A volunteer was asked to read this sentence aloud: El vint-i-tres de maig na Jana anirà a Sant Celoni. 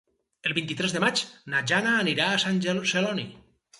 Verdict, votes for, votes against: rejected, 0, 4